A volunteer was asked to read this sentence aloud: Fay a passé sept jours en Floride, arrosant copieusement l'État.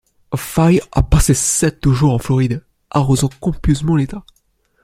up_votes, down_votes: 2, 1